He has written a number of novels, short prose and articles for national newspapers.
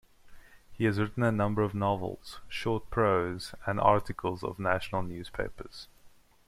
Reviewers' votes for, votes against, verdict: 1, 2, rejected